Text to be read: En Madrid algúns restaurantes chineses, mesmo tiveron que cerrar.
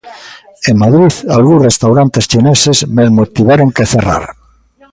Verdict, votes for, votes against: accepted, 2, 1